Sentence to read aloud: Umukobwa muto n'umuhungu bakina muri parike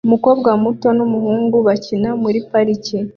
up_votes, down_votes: 3, 0